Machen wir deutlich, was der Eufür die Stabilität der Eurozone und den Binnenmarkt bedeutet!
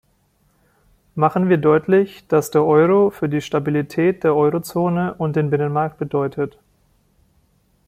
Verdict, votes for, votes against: rejected, 0, 2